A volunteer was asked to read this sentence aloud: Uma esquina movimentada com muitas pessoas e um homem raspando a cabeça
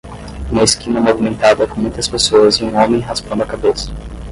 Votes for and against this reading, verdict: 5, 5, rejected